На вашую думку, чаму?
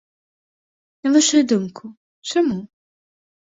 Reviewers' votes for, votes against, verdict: 2, 0, accepted